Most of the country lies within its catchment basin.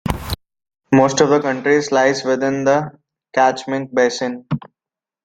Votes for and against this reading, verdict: 0, 2, rejected